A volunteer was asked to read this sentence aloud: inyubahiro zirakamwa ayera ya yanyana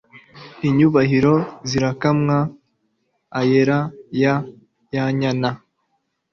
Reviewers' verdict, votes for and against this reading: accepted, 2, 0